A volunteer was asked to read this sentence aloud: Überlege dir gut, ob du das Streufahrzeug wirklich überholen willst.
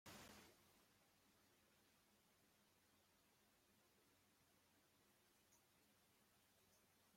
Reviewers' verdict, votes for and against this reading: rejected, 0, 2